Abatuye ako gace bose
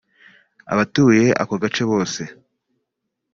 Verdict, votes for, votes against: accepted, 3, 0